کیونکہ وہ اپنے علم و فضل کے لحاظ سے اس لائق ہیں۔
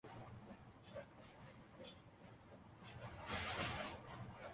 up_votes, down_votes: 0, 2